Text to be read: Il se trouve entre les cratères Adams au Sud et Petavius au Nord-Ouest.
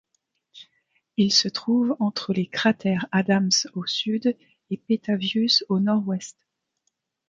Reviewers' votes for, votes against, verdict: 2, 0, accepted